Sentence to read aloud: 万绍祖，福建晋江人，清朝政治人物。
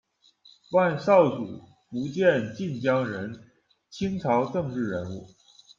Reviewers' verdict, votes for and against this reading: accepted, 2, 0